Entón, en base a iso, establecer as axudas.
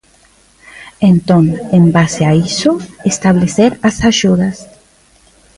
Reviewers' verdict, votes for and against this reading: rejected, 1, 2